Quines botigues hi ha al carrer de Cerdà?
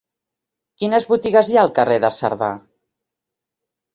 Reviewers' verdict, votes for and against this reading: accepted, 3, 0